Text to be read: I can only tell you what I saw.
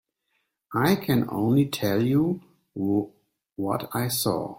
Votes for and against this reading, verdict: 1, 2, rejected